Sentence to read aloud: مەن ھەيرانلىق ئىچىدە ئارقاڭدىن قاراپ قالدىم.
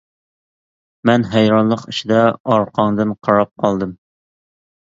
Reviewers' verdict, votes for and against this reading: accepted, 2, 0